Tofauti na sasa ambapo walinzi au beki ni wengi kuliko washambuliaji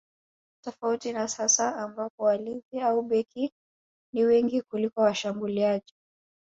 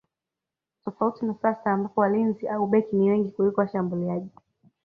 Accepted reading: first